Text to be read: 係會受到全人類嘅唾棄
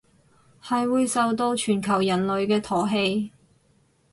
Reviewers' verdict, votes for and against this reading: rejected, 0, 4